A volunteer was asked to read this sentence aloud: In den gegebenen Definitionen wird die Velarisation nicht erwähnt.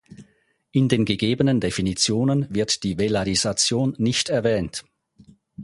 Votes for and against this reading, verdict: 4, 0, accepted